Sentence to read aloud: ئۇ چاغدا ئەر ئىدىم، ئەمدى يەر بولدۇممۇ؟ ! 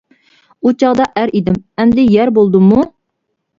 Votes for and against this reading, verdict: 2, 0, accepted